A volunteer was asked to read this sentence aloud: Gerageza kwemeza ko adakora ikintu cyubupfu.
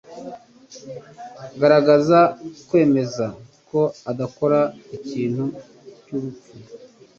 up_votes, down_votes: 2, 0